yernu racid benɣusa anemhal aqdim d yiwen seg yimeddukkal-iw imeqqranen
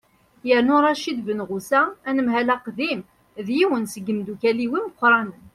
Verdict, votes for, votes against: accepted, 2, 0